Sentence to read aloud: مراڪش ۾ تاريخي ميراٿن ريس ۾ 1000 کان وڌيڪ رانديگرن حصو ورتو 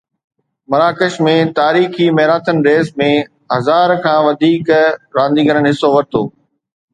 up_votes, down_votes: 0, 2